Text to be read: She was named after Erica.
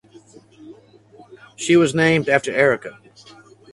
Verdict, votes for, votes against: accepted, 4, 0